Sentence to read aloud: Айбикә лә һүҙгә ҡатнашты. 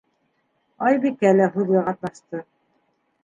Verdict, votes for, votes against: accepted, 2, 0